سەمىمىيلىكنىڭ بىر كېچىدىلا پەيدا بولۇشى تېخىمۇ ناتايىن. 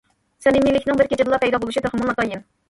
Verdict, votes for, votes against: rejected, 0, 2